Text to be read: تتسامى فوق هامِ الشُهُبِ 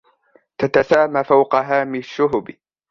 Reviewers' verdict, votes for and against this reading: accepted, 2, 0